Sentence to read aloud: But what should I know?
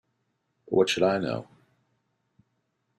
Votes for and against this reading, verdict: 2, 0, accepted